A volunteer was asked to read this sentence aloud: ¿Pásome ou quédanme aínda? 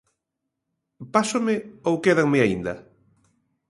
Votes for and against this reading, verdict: 2, 0, accepted